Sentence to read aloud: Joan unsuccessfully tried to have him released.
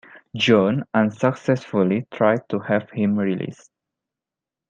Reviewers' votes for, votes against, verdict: 2, 1, accepted